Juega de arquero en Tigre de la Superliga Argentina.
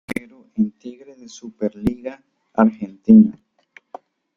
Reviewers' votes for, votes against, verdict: 0, 2, rejected